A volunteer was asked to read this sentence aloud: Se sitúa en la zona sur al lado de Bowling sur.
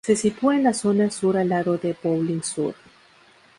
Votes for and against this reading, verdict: 2, 0, accepted